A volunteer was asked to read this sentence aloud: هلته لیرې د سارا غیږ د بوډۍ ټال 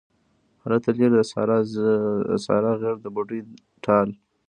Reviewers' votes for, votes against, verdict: 2, 0, accepted